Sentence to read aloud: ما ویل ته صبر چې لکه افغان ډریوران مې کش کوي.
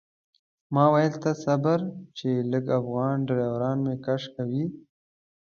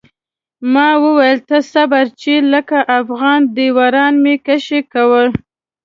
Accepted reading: first